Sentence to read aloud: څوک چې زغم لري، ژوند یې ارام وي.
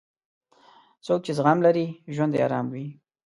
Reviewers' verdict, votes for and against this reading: accepted, 2, 0